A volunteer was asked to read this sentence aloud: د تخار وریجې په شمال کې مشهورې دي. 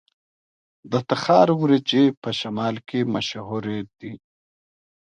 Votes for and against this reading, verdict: 1, 2, rejected